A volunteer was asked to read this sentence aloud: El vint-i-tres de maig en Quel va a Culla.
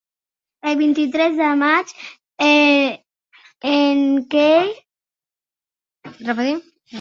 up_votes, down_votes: 1, 3